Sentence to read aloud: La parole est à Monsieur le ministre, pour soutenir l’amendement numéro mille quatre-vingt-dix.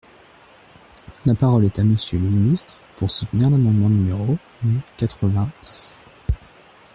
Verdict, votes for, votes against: rejected, 1, 2